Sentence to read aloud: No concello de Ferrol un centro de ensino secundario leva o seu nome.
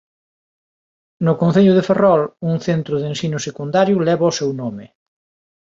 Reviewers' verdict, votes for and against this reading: accepted, 4, 0